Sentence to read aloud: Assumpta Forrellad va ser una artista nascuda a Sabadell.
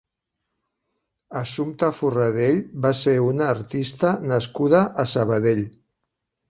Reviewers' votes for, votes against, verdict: 0, 4, rejected